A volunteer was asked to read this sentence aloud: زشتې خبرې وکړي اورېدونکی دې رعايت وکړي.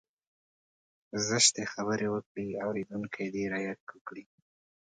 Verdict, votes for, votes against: accepted, 2, 0